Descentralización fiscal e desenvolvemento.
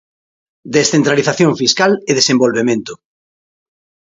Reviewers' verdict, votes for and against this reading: accepted, 2, 0